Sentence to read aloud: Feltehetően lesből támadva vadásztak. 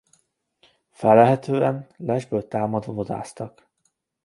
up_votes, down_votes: 1, 2